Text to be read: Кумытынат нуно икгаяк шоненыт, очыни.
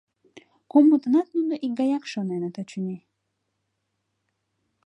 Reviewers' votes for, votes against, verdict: 2, 0, accepted